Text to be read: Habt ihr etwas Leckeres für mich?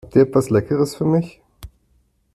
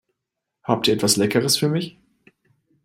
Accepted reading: second